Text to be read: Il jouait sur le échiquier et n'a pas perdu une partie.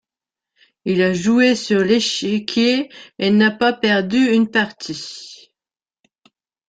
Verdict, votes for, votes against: rejected, 0, 2